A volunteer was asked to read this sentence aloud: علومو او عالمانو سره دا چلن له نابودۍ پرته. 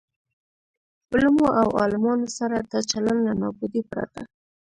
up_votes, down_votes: 2, 1